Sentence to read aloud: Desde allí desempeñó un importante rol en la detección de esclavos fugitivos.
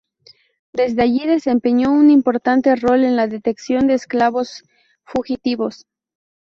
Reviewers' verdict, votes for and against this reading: accepted, 2, 0